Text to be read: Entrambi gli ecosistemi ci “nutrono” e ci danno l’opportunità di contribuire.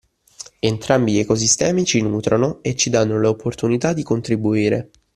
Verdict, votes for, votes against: accepted, 2, 0